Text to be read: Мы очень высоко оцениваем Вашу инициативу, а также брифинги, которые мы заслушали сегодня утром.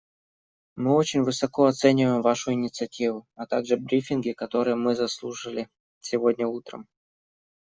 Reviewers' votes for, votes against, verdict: 2, 1, accepted